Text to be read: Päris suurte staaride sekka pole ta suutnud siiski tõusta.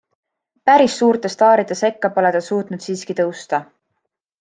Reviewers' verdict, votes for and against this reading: accepted, 2, 0